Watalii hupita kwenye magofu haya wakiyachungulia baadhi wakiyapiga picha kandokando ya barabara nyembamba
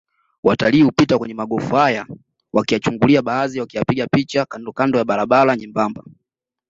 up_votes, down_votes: 2, 0